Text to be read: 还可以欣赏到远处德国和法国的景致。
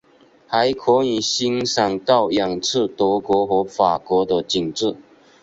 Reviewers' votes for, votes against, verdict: 6, 2, accepted